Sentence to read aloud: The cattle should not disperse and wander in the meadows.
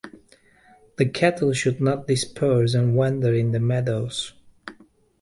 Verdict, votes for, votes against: accepted, 2, 0